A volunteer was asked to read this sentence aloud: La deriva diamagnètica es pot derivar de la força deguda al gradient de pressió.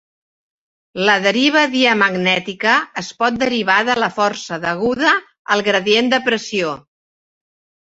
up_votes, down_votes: 3, 1